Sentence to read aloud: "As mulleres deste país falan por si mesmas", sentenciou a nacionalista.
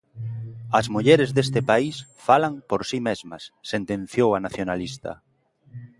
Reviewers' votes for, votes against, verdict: 2, 0, accepted